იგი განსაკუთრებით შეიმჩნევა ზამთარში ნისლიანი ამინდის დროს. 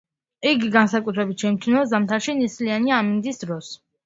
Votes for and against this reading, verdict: 2, 0, accepted